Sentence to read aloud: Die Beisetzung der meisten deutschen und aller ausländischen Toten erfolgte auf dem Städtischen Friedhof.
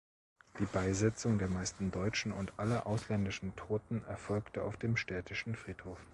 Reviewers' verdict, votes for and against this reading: accepted, 2, 0